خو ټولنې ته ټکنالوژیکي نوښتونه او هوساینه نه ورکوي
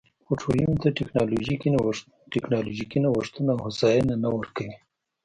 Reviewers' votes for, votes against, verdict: 1, 2, rejected